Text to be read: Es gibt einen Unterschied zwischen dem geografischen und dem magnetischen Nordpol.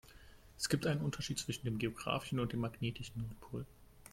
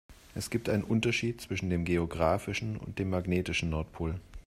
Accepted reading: second